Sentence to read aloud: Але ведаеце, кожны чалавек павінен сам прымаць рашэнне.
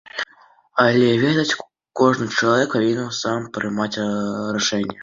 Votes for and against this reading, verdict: 0, 2, rejected